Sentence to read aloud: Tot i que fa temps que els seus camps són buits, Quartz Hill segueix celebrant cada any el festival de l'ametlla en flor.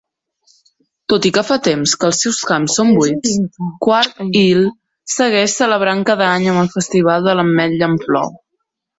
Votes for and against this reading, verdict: 0, 2, rejected